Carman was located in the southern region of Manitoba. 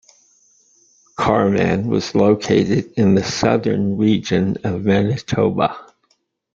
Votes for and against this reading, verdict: 2, 0, accepted